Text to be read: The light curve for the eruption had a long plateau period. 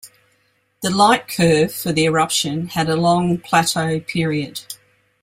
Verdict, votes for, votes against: accepted, 2, 0